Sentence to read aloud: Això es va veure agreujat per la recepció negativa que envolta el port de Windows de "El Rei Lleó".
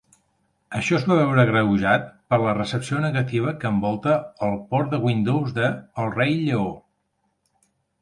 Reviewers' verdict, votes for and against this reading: accepted, 3, 0